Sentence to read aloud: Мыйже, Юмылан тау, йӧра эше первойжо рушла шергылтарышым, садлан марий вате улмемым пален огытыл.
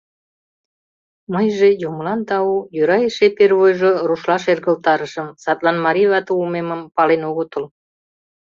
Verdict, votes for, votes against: rejected, 0, 2